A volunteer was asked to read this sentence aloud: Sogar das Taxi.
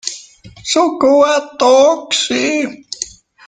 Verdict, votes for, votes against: rejected, 0, 3